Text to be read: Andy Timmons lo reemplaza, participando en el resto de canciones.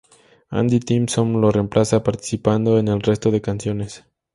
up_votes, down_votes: 0, 2